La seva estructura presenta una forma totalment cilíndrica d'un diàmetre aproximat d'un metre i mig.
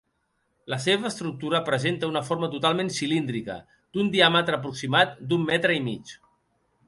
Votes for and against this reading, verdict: 3, 0, accepted